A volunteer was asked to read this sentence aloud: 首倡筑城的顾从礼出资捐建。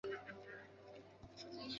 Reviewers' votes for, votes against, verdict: 1, 2, rejected